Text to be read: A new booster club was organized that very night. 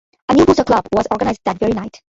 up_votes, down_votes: 1, 2